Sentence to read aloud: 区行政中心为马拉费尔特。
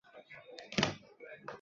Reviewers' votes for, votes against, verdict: 0, 2, rejected